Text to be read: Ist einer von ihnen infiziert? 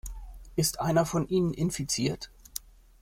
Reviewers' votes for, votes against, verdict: 2, 0, accepted